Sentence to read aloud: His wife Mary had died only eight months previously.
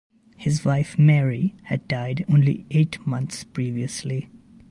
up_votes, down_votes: 2, 0